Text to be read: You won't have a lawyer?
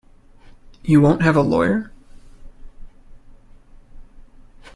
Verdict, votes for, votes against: accepted, 2, 0